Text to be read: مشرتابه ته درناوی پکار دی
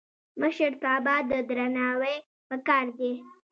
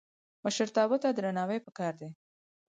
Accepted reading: second